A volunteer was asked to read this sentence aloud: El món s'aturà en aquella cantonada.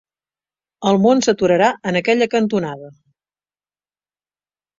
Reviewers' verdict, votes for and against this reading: rejected, 0, 2